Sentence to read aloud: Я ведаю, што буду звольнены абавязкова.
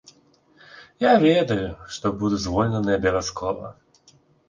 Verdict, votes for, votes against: accepted, 4, 0